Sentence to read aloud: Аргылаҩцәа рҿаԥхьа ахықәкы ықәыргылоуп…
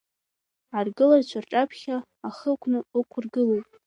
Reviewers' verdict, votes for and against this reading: accepted, 2, 1